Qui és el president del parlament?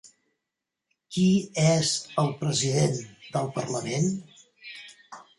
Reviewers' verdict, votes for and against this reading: accepted, 3, 0